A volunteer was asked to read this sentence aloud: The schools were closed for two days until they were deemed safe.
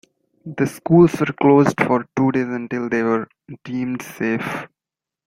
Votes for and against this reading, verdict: 1, 2, rejected